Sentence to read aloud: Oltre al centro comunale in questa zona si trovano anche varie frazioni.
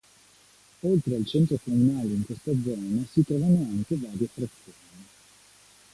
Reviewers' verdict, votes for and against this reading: accepted, 2, 0